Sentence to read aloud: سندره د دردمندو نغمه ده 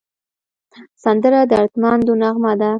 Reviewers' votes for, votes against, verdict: 0, 2, rejected